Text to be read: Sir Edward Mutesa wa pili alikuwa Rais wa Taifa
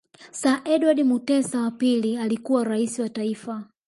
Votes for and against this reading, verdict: 1, 2, rejected